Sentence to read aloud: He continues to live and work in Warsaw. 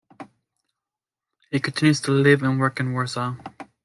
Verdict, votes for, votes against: accepted, 2, 1